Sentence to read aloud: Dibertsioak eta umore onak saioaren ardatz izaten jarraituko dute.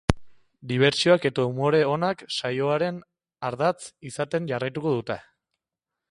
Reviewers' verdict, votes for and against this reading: accepted, 2, 0